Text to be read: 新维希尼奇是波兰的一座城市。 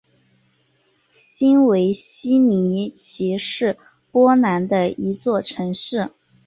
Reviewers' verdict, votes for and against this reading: accepted, 2, 0